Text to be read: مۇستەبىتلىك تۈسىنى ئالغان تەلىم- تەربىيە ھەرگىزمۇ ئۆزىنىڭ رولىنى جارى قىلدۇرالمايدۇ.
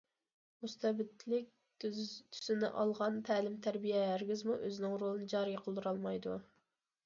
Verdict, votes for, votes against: rejected, 0, 2